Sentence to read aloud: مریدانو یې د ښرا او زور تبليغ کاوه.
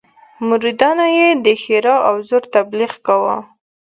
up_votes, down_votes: 2, 0